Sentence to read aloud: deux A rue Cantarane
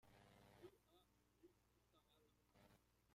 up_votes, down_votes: 0, 2